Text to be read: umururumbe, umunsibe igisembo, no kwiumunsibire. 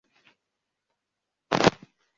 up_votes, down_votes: 0, 2